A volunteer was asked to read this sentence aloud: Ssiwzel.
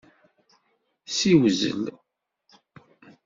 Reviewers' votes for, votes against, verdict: 2, 0, accepted